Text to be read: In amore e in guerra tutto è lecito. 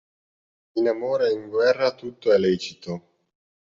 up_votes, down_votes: 2, 0